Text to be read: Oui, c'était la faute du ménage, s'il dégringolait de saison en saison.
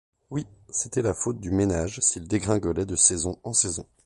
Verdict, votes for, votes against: accepted, 2, 0